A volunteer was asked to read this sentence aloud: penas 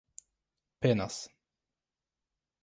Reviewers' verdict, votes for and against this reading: accepted, 2, 0